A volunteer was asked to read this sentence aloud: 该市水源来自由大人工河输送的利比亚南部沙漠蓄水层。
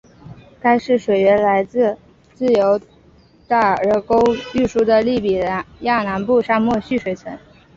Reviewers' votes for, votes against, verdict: 2, 1, accepted